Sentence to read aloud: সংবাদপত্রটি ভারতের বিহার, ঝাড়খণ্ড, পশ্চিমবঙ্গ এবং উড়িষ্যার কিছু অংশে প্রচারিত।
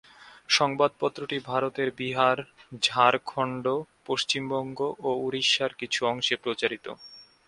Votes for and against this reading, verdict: 3, 0, accepted